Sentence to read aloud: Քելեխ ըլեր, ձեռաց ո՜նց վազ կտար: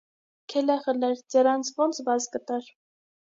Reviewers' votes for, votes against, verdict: 3, 0, accepted